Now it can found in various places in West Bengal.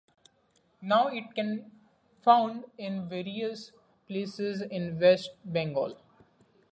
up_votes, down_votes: 2, 0